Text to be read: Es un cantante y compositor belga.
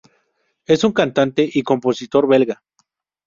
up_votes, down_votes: 4, 0